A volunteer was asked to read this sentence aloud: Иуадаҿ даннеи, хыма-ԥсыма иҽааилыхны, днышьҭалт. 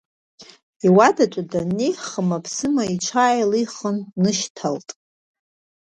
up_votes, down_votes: 1, 2